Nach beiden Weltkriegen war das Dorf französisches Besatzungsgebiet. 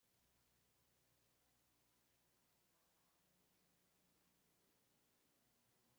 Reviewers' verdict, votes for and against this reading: rejected, 0, 2